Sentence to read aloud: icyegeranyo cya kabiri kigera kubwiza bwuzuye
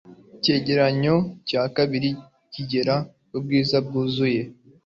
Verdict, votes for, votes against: accepted, 2, 0